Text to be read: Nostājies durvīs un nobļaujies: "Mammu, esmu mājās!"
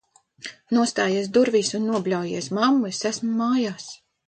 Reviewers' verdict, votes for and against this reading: accepted, 2, 1